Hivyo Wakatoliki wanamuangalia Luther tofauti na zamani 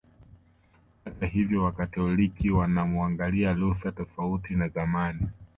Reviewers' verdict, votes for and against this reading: accepted, 2, 0